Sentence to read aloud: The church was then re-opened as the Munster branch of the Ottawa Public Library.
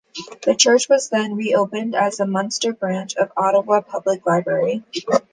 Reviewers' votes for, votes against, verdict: 1, 2, rejected